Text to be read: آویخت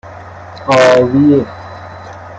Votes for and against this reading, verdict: 2, 0, accepted